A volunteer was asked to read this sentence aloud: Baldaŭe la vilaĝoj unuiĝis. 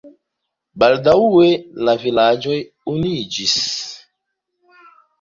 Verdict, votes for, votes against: accepted, 2, 0